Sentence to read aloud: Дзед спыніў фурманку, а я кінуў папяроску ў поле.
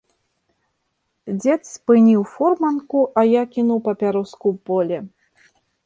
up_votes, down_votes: 3, 0